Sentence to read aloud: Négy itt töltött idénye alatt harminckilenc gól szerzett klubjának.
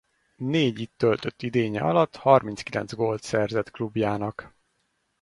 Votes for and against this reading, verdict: 2, 4, rejected